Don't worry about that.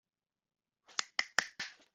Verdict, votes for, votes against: rejected, 0, 2